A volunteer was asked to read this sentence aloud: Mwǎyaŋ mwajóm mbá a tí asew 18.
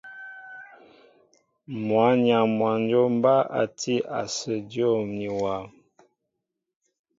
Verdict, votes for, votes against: rejected, 0, 2